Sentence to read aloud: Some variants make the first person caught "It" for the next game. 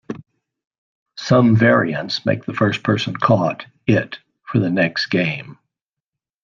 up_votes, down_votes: 2, 0